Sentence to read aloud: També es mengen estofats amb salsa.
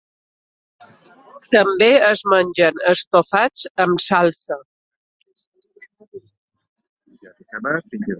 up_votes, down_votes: 2, 0